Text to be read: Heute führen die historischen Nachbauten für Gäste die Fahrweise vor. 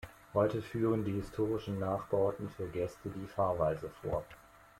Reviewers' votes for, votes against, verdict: 2, 0, accepted